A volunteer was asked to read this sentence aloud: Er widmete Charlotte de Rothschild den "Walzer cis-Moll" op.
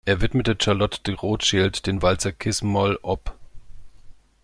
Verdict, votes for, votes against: rejected, 1, 2